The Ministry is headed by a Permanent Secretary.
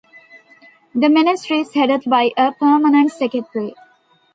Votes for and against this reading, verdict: 2, 0, accepted